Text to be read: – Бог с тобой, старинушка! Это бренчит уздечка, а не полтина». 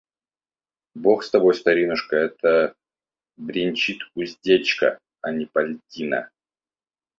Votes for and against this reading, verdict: 0, 2, rejected